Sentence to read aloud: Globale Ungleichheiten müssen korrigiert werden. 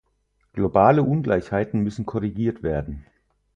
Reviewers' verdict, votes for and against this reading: rejected, 2, 4